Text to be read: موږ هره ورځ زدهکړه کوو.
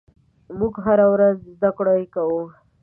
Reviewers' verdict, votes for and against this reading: rejected, 0, 2